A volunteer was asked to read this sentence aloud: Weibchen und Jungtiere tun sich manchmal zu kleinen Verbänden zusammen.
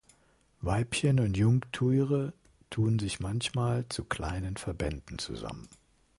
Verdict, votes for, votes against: rejected, 2, 3